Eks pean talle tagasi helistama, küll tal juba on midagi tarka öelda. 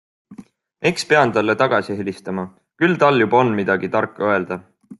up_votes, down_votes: 2, 0